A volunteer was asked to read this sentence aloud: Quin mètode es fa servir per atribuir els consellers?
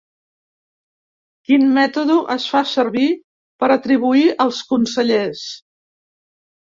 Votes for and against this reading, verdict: 0, 2, rejected